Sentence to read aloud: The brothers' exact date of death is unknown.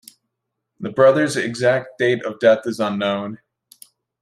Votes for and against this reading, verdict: 2, 0, accepted